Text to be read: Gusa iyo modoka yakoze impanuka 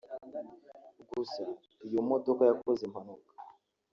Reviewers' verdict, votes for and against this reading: accepted, 2, 0